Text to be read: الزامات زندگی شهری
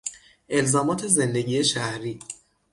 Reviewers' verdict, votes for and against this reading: accepted, 6, 0